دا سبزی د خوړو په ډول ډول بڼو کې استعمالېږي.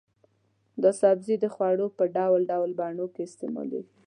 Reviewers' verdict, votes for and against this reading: accepted, 2, 0